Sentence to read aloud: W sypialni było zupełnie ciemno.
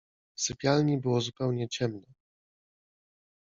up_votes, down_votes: 2, 0